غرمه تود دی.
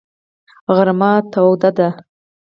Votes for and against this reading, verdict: 4, 0, accepted